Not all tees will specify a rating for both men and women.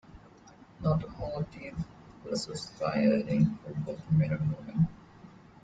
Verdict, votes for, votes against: rejected, 0, 2